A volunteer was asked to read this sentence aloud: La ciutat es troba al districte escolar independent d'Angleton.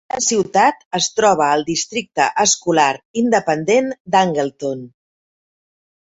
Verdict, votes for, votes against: rejected, 1, 2